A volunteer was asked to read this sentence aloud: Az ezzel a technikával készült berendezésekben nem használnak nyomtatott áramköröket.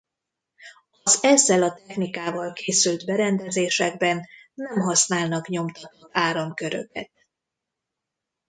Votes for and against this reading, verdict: 0, 2, rejected